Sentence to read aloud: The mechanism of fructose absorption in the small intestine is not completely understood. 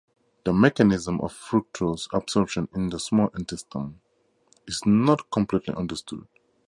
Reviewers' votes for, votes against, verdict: 2, 0, accepted